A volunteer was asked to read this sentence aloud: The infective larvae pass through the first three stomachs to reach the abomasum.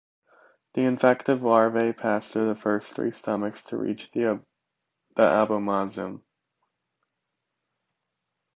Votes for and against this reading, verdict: 0, 2, rejected